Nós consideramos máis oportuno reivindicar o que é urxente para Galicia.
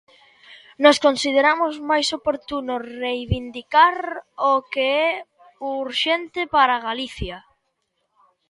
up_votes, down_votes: 2, 1